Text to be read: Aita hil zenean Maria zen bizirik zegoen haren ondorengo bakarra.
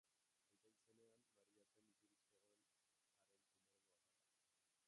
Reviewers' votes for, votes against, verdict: 0, 2, rejected